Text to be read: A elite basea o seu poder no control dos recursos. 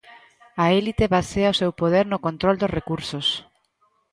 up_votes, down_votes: 0, 2